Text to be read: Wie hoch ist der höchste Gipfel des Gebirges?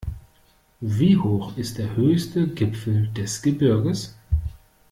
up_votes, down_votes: 2, 0